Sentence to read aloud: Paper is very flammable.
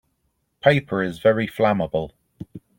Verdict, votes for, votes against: accepted, 4, 0